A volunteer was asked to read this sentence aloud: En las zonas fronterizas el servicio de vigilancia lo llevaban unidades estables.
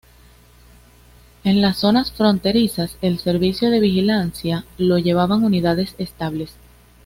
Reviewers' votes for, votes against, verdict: 2, 0, accepted